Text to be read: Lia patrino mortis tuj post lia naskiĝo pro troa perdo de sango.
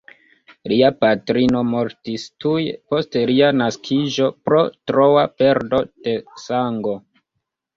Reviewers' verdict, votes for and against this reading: rejected, 1, 2